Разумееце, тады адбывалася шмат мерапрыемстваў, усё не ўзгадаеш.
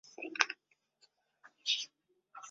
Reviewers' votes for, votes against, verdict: 0, 2, rejected